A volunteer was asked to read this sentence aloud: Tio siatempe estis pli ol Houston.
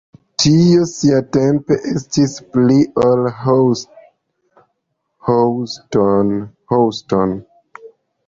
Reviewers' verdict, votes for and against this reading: rejected, 1, 2